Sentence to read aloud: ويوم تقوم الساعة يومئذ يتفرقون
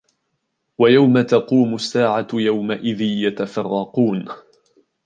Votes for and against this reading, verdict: 2, 0, accepted